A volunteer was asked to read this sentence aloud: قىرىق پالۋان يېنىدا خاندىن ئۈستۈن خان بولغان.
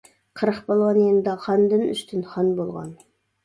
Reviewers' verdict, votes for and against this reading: accepted, 2, 0